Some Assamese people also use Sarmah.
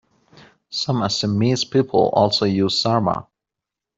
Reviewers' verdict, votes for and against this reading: accepted, 2, 0